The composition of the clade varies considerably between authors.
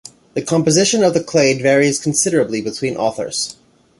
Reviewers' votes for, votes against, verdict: 2, 0, accepted